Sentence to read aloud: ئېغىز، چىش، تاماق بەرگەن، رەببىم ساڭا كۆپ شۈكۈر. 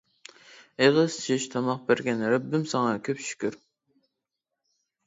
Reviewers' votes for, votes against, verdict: 0, 2, rejected